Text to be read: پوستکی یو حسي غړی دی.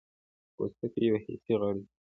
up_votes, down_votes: 2, 1